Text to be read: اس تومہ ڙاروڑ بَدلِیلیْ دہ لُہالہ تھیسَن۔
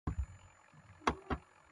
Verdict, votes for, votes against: rejected, 0, 2